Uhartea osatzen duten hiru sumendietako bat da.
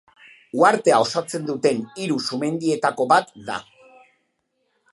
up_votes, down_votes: 3, 0